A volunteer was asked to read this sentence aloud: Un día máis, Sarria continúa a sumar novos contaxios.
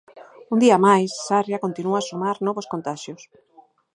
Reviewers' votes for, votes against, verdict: 0, 4, rejected